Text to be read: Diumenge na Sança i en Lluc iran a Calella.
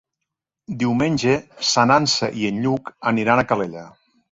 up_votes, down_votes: 1, 3